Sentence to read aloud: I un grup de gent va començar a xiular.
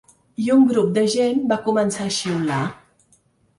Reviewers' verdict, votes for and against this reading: rejected, 1, 2